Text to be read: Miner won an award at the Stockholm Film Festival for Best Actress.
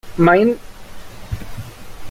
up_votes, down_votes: 0, 2